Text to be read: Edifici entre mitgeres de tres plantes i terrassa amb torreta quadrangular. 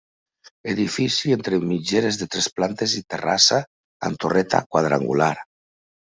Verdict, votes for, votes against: accepted, 3, 0